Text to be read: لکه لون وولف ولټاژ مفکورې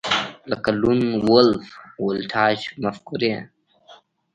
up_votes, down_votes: 2, 0